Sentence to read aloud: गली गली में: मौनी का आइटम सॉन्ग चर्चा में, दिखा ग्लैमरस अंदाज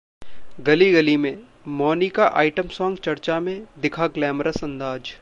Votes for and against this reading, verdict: 0, 2, rejected